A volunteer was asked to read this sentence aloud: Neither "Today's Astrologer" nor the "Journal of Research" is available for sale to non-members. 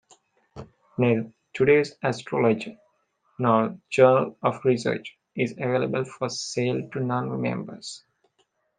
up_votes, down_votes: 0, 2